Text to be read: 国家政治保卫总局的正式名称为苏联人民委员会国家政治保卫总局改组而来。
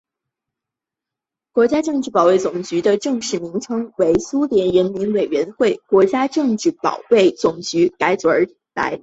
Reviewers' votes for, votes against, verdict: 1, 2, rejected